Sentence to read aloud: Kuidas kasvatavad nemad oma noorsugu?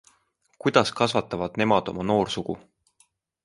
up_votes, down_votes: 2, 0